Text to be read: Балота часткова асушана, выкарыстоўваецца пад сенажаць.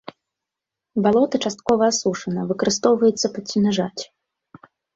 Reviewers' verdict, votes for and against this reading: accepted, 2, 0